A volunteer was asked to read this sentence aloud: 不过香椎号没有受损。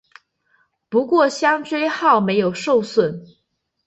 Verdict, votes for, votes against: accepted, 4, 0